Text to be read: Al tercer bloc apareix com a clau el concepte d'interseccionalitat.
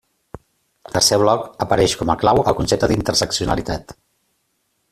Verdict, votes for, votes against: rejected, 1, 2